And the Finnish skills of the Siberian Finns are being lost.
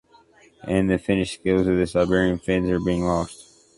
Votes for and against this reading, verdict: 2, 0, accepted